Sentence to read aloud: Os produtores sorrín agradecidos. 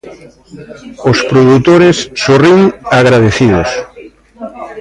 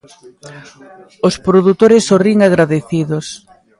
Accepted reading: second